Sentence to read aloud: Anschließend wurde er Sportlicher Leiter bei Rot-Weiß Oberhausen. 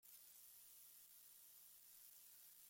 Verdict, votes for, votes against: rejected, 1, 2